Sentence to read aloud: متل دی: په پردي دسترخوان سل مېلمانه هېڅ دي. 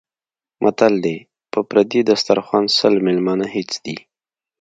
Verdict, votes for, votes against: accepted, 2, 0